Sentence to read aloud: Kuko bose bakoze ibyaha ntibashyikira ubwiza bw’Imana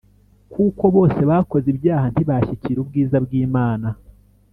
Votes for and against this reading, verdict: 2, 0, accepted